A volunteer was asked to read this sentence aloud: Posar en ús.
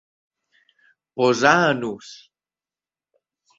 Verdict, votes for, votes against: accepted, 3, 0